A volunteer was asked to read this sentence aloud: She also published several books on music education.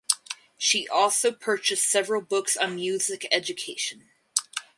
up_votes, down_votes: 0, 2